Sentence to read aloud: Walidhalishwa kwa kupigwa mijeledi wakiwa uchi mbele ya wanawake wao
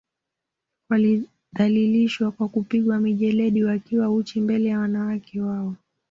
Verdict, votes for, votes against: accepted, 2, 1